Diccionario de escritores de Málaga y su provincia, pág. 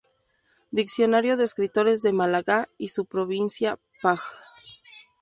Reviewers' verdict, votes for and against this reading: rejected, 0, 2